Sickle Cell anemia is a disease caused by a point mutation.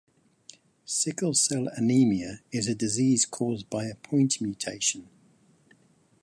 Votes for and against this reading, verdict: 2, 0, accepted